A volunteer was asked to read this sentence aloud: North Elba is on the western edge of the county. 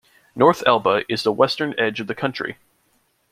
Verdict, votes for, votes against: rejected, 1, 2